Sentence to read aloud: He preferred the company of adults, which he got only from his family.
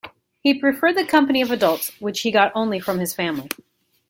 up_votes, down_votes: 2, 0